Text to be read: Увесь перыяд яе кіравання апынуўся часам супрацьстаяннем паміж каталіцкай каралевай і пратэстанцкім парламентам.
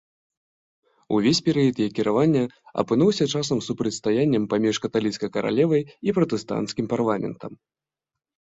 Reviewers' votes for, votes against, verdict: 2, 0, accepted